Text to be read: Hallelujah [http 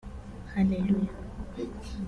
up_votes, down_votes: 0, 2